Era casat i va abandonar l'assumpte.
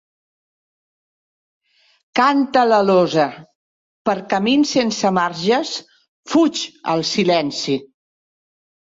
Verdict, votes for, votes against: rejected, 0, 2